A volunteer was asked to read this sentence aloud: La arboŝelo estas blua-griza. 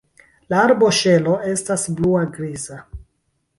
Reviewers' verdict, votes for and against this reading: rejected, 0, 2